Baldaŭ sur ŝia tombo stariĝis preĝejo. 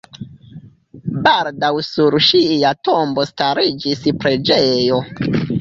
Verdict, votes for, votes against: rejected, 1, 2